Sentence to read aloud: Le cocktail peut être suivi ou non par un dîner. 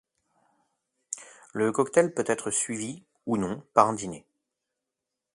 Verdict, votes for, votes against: accepted, 2, 0